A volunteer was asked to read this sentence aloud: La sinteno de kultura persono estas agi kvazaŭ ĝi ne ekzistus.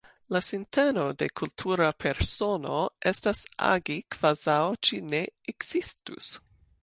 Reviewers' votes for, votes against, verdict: 2, 0, accepted